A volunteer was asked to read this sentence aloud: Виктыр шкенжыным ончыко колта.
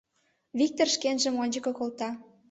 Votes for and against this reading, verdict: 0, 2, rejected